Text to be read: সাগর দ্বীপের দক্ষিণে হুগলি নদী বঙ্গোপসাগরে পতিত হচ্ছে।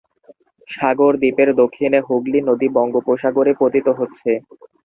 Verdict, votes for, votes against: rejected, 0, 2